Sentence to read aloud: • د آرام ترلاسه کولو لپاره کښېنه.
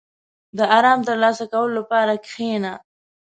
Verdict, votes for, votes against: accepted, 7, 0